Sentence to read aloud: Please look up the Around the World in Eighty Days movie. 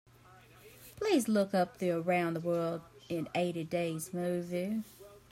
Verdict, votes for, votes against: accepted, 3, 1